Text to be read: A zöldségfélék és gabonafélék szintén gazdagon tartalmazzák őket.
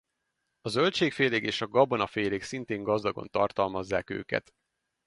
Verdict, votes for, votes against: rejected, 2, 4